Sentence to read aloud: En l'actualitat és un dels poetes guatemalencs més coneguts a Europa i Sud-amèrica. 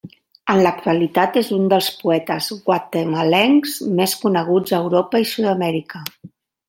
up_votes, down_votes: 3, 0